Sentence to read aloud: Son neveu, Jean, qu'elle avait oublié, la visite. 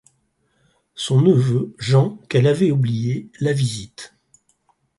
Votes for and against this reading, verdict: 4, 0, accepted